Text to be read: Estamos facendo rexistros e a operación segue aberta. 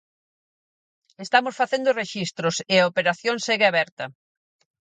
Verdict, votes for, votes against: accepted, 4, 0